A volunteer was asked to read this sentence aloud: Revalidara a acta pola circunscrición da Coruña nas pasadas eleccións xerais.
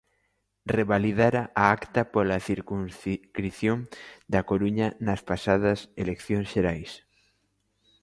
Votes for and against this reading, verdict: 0, 2, rejected